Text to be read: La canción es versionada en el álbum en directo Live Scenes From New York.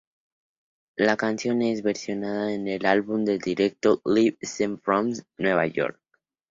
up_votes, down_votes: 2, 0